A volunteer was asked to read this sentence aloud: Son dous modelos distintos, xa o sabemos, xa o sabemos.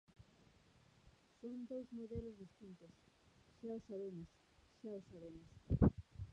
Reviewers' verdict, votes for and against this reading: rejected, 0, 2